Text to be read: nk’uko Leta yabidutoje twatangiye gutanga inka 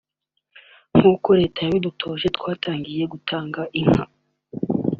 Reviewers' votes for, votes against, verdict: 0, 2, rejected